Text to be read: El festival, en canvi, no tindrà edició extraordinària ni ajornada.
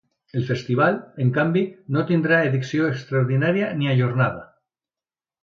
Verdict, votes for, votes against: accepted, 2, 0